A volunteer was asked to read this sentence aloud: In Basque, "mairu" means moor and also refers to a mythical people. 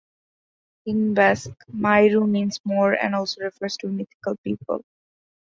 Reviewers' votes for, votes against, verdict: 2, 0, accepted